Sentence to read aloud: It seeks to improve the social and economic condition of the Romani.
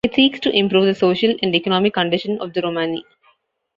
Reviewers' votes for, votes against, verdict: 2, 0, accepted